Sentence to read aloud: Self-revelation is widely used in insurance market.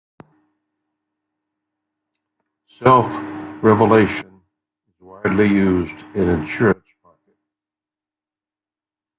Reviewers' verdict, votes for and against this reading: rejected, 0, 2